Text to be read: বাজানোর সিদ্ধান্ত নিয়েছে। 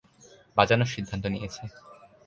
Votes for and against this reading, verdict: 2, 0, accepted